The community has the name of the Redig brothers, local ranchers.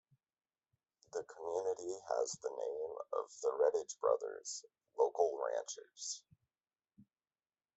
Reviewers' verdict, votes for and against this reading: rejected, 1, 2